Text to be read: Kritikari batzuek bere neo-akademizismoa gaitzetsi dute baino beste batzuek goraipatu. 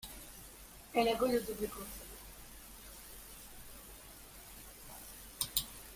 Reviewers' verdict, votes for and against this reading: rejected, 0, 2